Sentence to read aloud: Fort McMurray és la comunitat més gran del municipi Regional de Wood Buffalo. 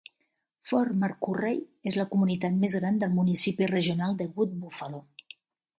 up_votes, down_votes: 0, 2